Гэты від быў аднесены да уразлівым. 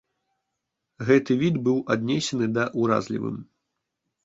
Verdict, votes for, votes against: accepted, 2, 0